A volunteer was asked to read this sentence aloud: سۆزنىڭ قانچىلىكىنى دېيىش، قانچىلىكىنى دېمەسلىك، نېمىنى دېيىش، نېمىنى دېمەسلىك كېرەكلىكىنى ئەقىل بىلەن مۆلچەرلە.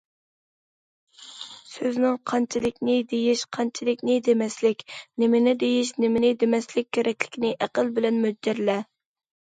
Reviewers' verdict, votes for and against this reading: rejected, 0, 2